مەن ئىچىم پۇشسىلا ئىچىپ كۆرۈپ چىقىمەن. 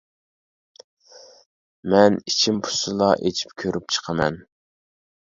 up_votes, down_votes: 1, 2